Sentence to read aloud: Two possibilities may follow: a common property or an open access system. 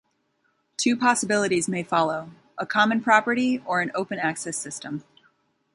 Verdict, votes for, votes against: accepted, 2, 0